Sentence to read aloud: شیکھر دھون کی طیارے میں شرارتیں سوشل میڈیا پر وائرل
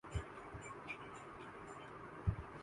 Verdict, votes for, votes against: accepted, 4, 1